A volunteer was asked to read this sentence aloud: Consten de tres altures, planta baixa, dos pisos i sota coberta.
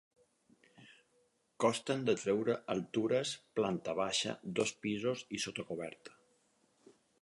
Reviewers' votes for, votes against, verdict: 0, 4, rejected